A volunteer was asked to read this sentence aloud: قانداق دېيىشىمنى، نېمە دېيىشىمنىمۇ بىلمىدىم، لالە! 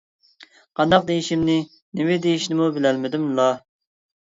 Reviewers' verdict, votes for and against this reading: rejected, 0, 2